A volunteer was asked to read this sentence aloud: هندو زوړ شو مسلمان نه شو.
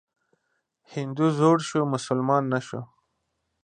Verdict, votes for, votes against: accepted, 2, 0